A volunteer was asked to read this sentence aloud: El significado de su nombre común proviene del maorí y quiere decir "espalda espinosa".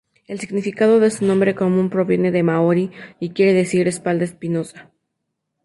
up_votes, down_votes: 2, 0